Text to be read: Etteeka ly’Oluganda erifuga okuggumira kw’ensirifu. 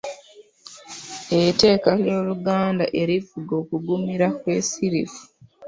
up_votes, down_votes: 0, 2